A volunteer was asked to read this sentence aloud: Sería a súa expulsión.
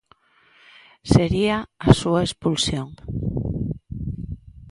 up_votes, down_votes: 3, 0